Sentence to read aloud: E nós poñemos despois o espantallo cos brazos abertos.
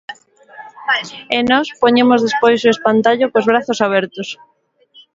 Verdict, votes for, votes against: rejected, 0, 2